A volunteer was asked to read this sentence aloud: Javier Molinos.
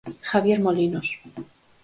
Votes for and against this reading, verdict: 4, 0, accepted